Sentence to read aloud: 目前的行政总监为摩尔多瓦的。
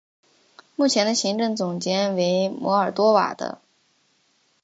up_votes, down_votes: 5, 0